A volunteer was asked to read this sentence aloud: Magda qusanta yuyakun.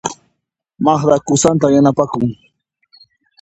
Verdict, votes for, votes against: rejected, 1, 2